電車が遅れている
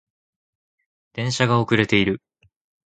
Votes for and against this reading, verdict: 2, 0, accepted